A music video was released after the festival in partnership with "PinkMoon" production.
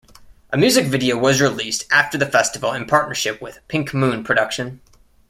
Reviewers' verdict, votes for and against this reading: accepted, 2, 0